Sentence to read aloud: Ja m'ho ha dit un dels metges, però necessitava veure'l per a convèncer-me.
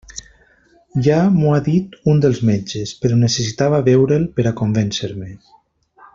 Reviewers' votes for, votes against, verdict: 3, 0, accepted